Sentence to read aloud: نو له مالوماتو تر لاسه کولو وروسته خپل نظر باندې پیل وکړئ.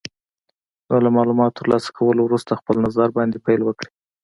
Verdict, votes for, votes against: accepted, 2, 0